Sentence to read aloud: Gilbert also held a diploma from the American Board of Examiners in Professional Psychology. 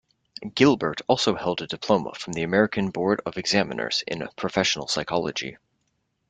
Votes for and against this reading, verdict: 2, 0, accepted